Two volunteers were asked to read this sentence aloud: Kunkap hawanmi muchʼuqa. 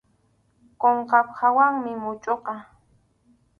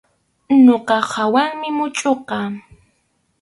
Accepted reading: second